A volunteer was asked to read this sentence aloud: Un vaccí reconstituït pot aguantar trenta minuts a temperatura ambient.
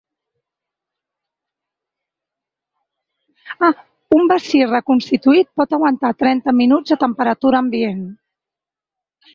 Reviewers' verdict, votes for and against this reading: rejected, 0, 2